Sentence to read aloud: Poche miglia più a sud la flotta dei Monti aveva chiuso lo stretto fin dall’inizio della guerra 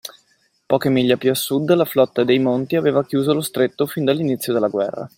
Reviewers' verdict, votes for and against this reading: accepted, 2, 0